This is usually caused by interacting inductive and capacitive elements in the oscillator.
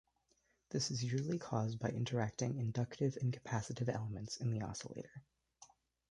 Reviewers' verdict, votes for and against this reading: accepted, 2, 0